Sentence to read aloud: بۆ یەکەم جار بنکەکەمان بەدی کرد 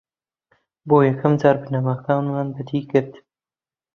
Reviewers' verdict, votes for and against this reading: rejected, 0, 2